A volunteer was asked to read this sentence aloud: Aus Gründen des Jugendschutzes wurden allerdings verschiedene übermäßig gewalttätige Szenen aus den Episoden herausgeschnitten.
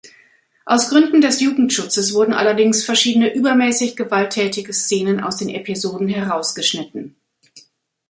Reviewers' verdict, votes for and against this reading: accepted, 2, 0